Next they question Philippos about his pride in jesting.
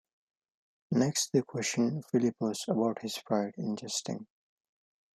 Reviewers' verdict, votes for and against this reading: accepted, 2, 1